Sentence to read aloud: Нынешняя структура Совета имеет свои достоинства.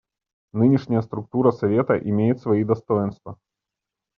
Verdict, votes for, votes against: accepted, 2, 0